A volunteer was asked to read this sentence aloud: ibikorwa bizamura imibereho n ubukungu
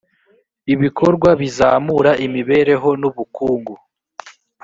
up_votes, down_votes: 2, 0